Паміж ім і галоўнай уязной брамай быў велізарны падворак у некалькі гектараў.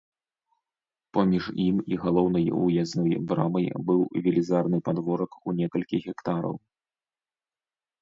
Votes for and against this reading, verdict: 1, 2, rejected